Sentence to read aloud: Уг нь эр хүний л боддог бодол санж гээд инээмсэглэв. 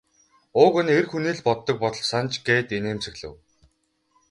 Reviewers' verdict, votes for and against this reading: accepted, 4, 0